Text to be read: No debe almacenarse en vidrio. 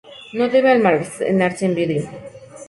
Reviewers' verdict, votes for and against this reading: rejected, 2, 2